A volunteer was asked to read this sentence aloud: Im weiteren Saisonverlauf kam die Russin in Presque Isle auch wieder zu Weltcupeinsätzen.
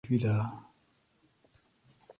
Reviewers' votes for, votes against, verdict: 0, 4, rejected